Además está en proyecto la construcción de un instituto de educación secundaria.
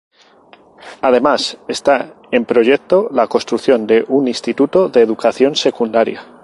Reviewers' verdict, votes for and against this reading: accepted, 2, 0